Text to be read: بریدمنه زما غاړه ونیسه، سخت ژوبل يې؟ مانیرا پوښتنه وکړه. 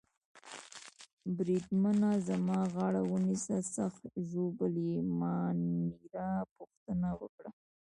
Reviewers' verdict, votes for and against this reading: rejected, 1, 2